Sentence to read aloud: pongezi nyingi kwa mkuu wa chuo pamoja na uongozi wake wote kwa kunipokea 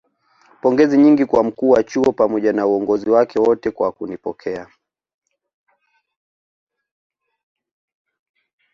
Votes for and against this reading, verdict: 2, 0, accepted